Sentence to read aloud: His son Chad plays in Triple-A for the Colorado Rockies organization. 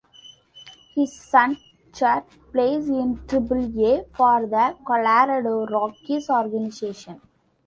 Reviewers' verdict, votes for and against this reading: accepted, 2, 1